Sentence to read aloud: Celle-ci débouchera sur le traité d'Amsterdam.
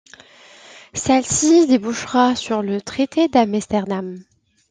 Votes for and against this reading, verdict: 2, 0, accepted